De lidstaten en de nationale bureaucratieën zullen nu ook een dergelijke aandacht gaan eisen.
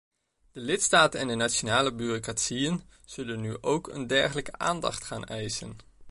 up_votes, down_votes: 2, 0